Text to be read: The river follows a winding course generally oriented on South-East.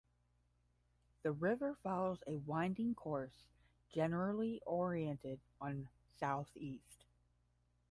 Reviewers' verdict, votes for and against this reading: rejected, 5, 5